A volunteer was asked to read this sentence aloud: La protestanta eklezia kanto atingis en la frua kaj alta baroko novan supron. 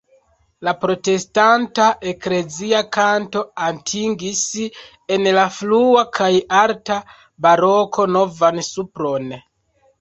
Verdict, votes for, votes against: accepted, 2, 0